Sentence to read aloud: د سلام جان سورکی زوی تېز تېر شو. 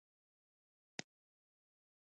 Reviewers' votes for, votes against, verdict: 0, 3, rejected